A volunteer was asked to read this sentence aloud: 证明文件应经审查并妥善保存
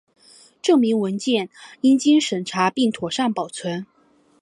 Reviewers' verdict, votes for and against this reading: accepted, 7, 1